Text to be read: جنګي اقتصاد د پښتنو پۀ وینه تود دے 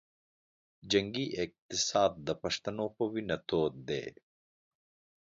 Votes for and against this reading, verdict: 2, 0, accepted